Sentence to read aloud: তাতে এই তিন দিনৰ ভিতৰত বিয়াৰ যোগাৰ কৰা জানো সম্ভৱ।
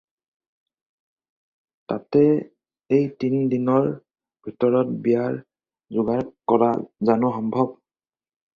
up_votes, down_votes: 2, 2